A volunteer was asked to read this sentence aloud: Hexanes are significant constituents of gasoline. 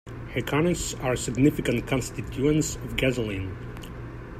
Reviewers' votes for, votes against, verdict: 0, 2, rejected